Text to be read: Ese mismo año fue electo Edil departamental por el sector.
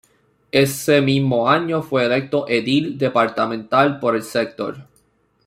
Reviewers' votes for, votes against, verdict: 2, 1, accepted